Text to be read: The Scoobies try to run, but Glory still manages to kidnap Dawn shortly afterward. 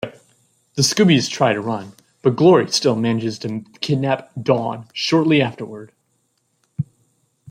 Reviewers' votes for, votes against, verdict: 0, 2, rejected